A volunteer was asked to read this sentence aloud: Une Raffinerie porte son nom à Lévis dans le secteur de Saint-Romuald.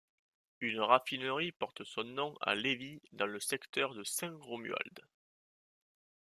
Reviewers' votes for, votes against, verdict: 2, 0, accepted